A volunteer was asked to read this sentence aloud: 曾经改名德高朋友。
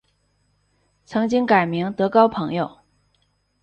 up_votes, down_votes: 2, 0